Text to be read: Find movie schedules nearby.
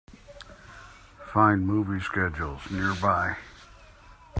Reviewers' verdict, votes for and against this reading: accepted, 2, 0